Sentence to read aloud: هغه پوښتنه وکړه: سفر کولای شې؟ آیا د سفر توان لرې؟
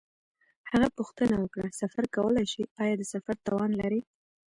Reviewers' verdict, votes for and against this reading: rejected, 1, 2